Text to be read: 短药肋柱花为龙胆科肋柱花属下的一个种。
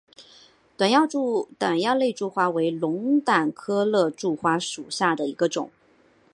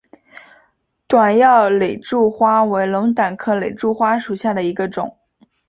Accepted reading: second